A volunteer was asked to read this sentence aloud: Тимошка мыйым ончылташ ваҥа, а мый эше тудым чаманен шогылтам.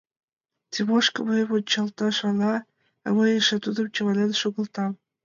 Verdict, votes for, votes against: rejected, 1, 2